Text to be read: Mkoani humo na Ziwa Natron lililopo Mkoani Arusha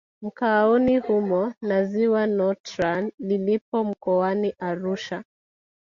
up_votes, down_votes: 2, 3